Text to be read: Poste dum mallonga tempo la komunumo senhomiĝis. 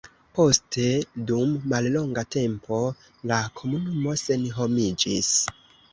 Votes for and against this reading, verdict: 2, 1, accepted